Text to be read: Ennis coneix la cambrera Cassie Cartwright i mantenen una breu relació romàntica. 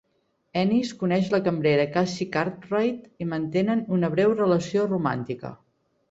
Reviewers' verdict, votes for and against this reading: accepted, 2, 0